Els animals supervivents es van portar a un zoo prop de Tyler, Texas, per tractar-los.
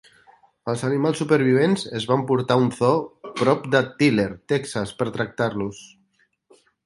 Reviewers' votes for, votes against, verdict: 2, 1, accepted